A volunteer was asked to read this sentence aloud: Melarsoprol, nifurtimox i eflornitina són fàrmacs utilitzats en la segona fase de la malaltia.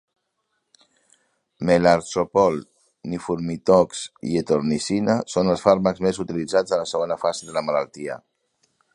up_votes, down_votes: 0, 2